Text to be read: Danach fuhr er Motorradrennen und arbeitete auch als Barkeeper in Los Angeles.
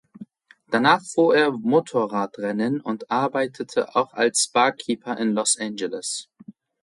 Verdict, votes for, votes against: accepted, 2, 0